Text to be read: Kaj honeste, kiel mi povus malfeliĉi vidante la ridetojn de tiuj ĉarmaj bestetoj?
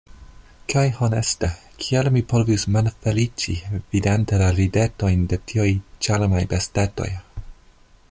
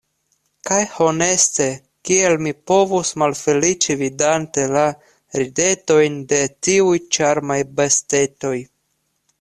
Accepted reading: second